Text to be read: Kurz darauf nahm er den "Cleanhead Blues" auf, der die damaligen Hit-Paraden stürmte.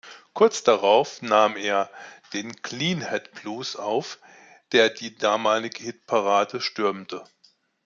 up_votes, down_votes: 1, 2